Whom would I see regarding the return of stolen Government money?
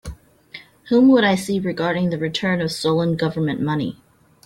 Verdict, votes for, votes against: accepted, 2, 0